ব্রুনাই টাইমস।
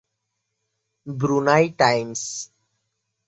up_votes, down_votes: 2, 0